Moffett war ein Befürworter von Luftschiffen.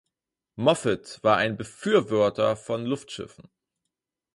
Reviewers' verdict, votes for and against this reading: rejected, 0, 4